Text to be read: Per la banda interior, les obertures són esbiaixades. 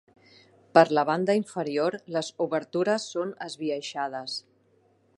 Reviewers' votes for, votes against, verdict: 0, 2, rejected